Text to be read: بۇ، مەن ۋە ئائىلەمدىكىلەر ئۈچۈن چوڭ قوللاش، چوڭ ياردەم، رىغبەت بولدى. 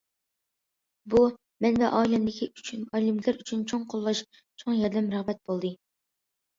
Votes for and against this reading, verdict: 0, 2, rejected